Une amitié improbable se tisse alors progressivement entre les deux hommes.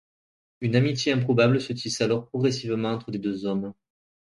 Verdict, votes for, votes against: accepted, 3, 0